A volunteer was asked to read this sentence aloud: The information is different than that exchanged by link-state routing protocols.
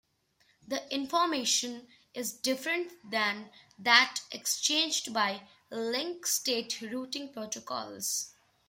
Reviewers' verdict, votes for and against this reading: accepted, 2, 0